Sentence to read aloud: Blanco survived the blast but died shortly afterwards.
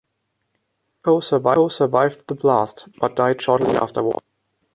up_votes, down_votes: 0, 2